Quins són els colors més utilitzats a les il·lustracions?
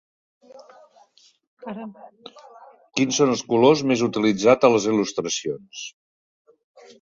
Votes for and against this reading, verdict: 1, 2, rejected